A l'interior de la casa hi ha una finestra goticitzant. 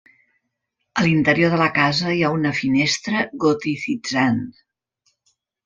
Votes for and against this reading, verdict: 1, 2, rejected